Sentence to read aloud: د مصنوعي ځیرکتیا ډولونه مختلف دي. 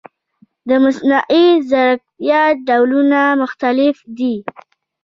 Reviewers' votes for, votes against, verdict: 0, 2, rejected